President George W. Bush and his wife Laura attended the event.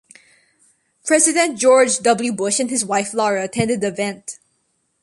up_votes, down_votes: 2, 0